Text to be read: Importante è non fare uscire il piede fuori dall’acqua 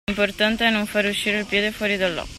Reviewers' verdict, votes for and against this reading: rejected, 0, 2